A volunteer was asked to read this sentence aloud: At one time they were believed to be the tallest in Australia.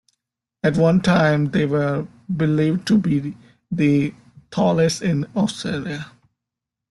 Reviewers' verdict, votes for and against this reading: accepted, 2, 1